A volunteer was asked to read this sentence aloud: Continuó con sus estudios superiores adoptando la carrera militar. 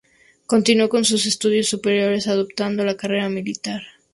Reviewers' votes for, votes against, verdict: 2, 0, accepted